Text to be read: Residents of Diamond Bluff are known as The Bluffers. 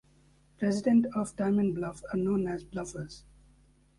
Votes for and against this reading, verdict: 1, 2, rejected